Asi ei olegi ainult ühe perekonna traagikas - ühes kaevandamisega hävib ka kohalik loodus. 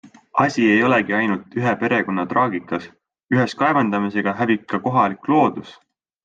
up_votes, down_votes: 6, 0